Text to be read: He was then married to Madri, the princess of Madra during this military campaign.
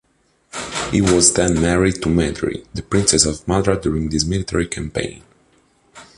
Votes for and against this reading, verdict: 2, 0, accepted